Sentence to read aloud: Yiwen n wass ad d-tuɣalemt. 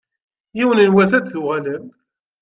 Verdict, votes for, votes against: accepted, 2, 0